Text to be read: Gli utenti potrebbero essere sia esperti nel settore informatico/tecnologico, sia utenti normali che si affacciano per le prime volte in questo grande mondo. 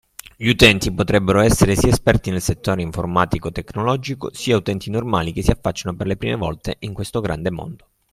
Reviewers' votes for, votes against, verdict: 2, 1, accepted